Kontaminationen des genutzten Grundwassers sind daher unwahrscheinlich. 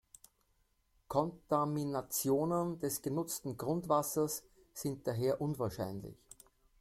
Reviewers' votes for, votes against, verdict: 2, 0, accepted